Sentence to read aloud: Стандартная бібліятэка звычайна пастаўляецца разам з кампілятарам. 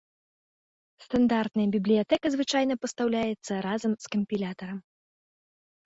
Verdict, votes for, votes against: accepted, 2, 0